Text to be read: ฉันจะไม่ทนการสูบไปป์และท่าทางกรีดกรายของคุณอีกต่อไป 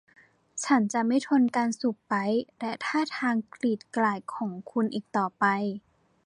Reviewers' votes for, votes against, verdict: 1, 2, rejected